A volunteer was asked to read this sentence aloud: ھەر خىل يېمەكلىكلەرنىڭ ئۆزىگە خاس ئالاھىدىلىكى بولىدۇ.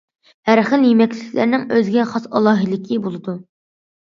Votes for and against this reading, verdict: 2, 0, accepted